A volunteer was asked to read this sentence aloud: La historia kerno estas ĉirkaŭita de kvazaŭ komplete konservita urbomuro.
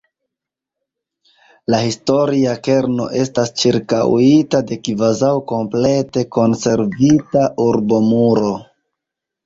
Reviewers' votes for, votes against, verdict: 1, 2, rejected